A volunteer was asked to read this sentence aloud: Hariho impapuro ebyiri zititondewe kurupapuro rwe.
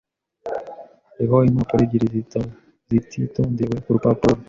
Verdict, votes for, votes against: rejected, 1, 2